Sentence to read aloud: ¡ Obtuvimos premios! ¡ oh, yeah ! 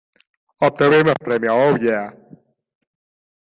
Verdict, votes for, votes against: rejected, 1, 2